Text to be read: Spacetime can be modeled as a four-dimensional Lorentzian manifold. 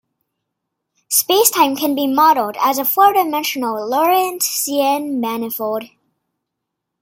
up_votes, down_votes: 1, 2